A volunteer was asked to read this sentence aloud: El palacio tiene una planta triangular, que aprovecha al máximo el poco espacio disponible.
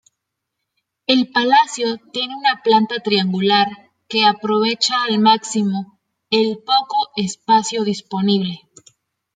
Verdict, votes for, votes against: rejected, 1, 2